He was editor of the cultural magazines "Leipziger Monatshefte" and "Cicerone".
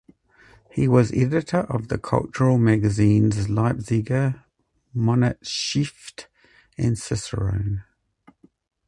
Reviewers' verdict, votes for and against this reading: rejected, 0, 4